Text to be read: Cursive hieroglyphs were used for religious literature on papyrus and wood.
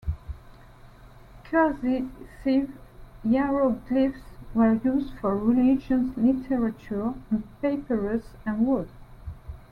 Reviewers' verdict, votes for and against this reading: rejected, 1, 2